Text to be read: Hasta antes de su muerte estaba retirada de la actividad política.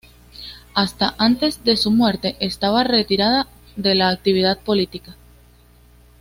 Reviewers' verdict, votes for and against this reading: accepted, 2, 0